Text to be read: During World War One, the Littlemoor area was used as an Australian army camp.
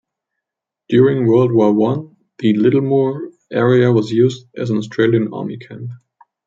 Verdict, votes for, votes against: accepted, 2, 1